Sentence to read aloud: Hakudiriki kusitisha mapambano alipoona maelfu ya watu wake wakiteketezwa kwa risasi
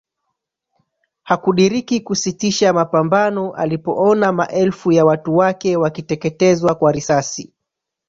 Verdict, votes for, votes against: rejected, 0, 2